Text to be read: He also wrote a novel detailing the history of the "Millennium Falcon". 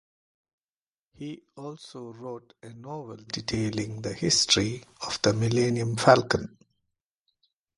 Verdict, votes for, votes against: accepted, 2, 0